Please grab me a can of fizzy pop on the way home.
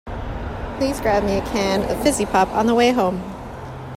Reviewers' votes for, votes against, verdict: 2, 0, accepted